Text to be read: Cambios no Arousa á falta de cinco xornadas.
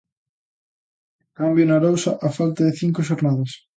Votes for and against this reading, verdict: 0, 2, rejected